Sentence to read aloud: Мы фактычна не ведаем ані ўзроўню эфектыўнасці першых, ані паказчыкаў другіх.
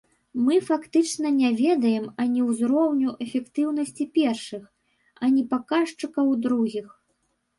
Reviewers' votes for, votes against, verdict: 0, 2, rejected